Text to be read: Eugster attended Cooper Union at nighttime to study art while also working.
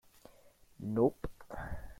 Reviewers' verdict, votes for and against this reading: rejected, 0, 3